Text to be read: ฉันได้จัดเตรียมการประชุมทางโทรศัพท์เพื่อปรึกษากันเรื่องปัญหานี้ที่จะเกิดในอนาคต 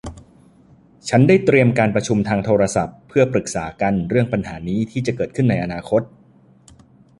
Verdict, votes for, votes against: rejected, 0, 2